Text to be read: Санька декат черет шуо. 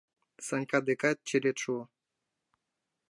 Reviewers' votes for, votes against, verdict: 2, 0, accepted